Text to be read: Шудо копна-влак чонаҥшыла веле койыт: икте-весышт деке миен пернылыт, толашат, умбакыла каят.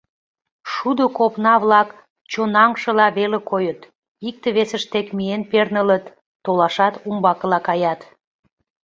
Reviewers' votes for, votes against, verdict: 2, 0, accepted